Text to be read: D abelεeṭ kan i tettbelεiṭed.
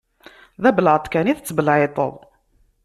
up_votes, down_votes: 2, 0